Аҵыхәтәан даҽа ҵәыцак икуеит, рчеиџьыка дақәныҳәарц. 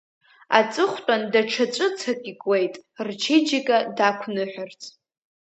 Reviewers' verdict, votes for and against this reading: accepted, 2, 0